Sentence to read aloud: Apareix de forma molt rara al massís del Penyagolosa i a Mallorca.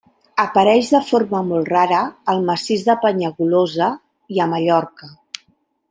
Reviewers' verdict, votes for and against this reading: rejected, 1, 2